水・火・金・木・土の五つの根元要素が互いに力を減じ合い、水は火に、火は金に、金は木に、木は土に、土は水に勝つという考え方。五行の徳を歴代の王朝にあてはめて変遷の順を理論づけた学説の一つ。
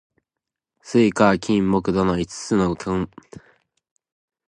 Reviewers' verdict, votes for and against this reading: rejected, 1, 3